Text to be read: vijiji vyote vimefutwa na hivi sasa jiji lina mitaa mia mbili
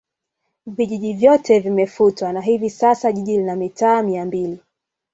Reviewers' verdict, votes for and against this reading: accepted, 2, 0